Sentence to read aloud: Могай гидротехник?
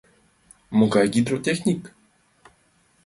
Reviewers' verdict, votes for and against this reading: accepted, 2, 0